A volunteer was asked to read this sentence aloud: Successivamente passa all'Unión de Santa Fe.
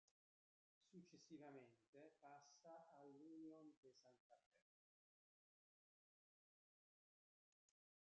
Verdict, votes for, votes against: rejected, 0, 2